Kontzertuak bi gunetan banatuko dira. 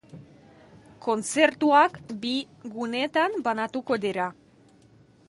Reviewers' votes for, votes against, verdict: 2, 0, accepted